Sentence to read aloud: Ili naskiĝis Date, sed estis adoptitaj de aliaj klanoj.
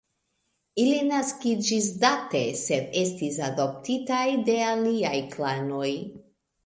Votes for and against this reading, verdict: 3, 1, accepted